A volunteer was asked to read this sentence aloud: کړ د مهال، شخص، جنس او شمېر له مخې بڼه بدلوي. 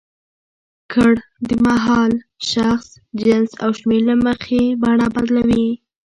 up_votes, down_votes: 1, 2